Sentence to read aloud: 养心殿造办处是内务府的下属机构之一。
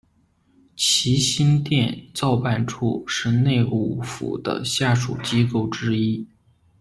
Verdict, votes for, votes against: rejected, 0, 2